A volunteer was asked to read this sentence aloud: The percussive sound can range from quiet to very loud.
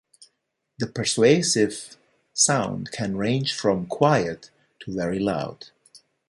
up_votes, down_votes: 0, 2